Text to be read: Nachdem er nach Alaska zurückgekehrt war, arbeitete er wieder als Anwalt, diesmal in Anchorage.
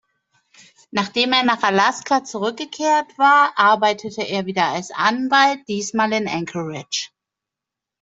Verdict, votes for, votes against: accepted, 2, 0